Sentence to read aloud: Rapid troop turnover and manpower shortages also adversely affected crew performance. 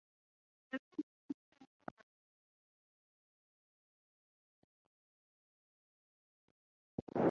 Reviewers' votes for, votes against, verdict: 0, 3, rejected